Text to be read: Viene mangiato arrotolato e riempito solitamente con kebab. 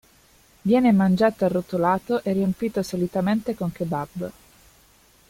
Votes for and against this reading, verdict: 2, 0, accepted